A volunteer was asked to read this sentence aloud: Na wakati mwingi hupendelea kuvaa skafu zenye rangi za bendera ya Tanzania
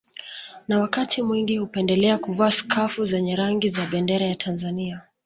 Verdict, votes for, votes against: accepted, 2, 1